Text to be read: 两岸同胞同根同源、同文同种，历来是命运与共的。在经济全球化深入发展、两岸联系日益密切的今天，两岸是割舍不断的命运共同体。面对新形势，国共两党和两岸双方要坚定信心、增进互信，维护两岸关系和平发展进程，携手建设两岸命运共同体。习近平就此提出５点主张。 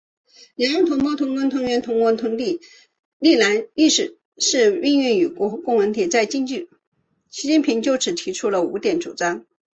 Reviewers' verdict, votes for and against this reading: rejected, 0, 2